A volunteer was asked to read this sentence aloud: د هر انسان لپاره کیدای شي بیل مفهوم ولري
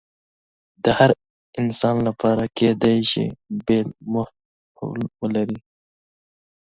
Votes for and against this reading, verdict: 2, 1, accepted